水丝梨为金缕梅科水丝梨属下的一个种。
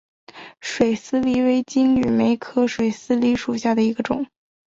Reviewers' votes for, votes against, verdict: 3, 0, accepted